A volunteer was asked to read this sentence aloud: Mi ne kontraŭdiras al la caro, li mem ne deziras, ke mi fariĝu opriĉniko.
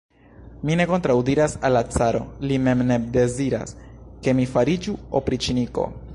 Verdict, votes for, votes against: accepted, 2, 0